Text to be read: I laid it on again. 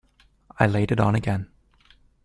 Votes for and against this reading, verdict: 2, 0, accepted